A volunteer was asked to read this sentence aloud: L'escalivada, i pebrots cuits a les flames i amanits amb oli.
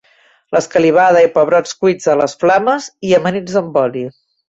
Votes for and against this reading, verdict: 2, 0, accepted